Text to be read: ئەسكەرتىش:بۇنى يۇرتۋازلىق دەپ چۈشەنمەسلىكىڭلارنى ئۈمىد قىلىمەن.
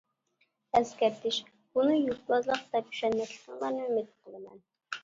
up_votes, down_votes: 1, 2